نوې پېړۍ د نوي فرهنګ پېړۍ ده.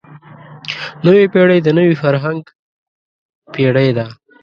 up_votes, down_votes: 1, 2